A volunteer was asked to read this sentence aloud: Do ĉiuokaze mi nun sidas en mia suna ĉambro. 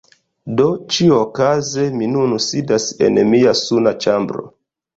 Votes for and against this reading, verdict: 0, 2, rejected